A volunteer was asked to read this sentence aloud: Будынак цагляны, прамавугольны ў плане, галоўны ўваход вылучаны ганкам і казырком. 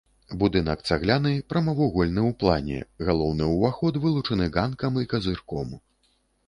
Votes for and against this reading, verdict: 3, 0, accepted